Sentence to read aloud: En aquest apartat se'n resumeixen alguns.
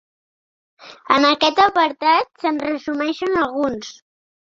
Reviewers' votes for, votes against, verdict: 1, 2, rejected